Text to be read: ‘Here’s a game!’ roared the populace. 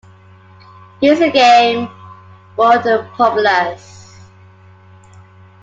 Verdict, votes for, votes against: accepted, 2, 1